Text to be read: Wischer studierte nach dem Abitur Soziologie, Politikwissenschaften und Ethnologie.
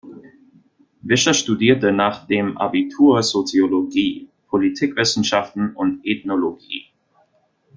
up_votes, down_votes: 2, 0